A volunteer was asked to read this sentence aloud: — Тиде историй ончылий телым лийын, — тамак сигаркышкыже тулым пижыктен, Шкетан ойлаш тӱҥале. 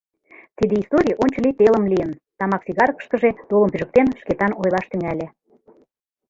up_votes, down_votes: 2, 0